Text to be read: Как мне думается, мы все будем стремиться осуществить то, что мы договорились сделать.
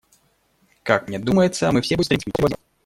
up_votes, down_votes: 0, 2